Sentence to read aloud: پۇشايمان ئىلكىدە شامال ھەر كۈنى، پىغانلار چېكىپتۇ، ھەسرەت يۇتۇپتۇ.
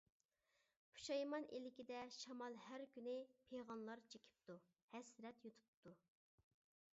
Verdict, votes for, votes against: accepted, 2, 0